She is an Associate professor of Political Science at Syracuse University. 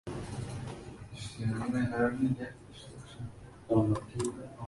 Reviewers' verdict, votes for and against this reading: rejected, 0, 2